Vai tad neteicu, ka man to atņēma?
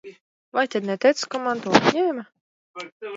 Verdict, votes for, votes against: accepted, 2, 0